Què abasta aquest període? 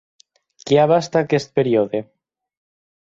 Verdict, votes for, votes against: accepted, 8, 0